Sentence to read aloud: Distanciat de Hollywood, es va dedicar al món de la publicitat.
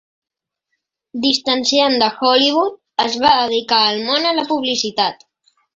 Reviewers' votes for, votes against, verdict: 1, 3, rejected